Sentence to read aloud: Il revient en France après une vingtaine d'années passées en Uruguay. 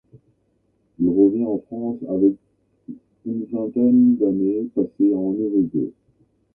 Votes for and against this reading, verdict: 0, 2, rejected